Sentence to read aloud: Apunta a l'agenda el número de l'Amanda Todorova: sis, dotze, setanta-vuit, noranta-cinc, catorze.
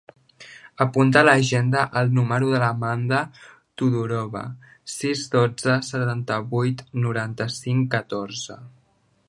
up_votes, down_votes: 1, 2